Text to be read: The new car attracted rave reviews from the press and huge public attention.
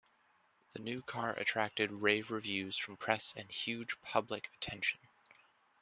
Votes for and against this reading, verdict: 0, 2, rejected